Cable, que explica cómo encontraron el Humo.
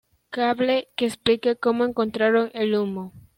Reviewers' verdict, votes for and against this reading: accepted, 2, 1